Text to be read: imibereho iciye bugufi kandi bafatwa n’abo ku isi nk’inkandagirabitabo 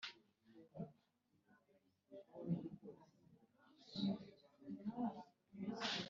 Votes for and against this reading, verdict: 1, 2, rejected